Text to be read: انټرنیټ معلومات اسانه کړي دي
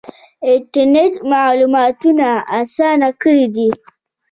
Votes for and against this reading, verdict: 2, 0, accepted